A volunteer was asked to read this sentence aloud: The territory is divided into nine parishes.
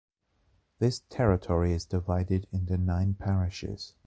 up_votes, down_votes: 0, 2